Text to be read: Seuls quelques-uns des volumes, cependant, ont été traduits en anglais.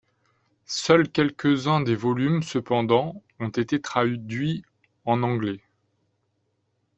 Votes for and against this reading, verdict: 1, 2, rejected